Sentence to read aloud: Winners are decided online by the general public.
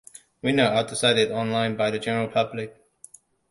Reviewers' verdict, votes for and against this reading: rejected, 1, 2